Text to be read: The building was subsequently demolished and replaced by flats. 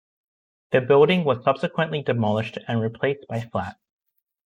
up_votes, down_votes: 1, 2